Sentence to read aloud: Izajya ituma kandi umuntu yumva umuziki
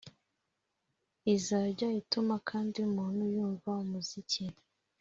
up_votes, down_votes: 2, 0